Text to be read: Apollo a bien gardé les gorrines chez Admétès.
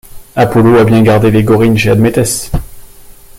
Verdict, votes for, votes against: accepted, 2, 0